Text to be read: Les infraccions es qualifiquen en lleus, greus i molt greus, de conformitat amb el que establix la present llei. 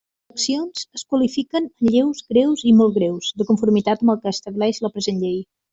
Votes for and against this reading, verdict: 0, 2, rejected